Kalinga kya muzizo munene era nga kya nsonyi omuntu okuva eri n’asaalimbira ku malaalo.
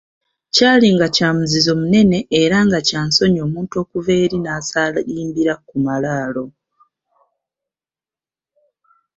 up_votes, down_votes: 2, 0